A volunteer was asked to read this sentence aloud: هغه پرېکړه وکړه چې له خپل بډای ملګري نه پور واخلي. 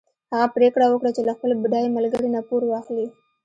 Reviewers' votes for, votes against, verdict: 2, 0, accepted